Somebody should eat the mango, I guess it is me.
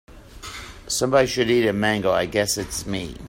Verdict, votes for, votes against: rejected, 0, 2